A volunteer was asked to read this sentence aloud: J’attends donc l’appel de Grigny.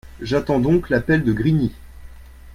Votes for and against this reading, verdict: 2, 0, accepted